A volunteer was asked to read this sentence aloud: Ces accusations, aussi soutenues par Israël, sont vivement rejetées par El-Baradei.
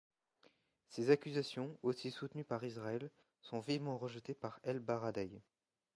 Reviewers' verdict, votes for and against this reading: accepted, 2, 0